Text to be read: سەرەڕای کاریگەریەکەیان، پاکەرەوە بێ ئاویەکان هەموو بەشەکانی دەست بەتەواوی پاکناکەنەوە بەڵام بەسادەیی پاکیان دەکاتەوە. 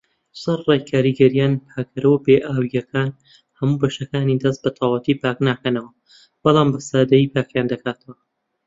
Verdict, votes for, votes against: rejected, 0, 2